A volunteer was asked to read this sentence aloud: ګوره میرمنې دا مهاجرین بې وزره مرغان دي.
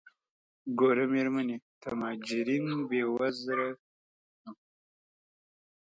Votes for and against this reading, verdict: 1, 2, rejected